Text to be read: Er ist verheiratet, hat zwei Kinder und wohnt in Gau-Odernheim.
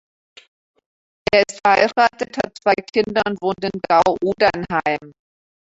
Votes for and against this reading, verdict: 0, 2, rejected